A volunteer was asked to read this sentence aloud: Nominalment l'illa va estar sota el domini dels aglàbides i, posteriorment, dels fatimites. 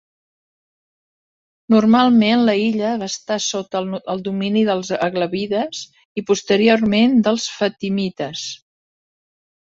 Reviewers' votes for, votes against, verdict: 1, 3, rejected